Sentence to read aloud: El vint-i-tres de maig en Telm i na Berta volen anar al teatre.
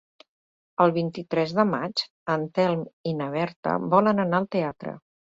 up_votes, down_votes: 3, 0